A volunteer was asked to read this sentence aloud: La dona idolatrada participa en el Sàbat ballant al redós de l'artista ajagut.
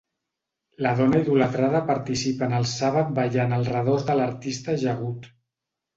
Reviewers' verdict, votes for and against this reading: accepted, 2, 0